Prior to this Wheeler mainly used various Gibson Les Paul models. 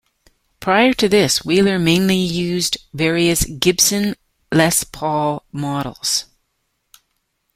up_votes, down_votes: 2, 0